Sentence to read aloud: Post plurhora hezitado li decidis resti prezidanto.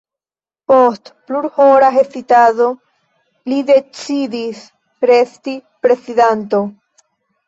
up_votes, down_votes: 0, 2